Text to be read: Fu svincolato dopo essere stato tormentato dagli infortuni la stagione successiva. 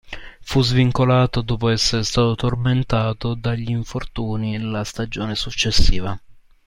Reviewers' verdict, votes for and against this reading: accepted, 2, 0